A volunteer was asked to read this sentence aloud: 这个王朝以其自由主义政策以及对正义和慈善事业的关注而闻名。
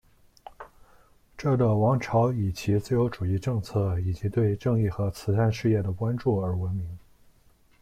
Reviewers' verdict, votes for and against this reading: rejected, 0, 2